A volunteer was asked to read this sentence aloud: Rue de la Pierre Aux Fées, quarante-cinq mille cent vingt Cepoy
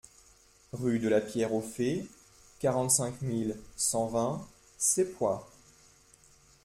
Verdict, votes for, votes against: accepted, 2, 1